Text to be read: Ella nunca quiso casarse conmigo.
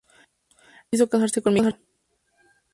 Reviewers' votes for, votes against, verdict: 0, 4, rejected